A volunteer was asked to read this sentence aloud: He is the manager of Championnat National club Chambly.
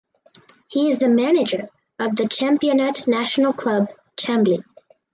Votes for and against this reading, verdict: 2, 2, rejected